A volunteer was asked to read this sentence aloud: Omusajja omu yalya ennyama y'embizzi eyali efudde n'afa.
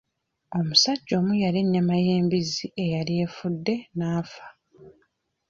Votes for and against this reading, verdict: 2, 0, accepted